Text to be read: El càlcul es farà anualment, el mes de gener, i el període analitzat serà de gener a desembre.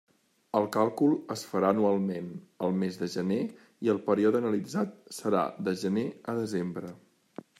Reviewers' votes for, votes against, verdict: 3, 0, accepted